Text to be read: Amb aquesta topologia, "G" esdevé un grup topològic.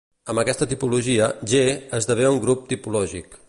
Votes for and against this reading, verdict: 0, 2, rejected